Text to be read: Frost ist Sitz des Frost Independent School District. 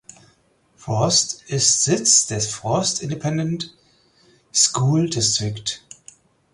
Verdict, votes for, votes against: rejected, 2, 4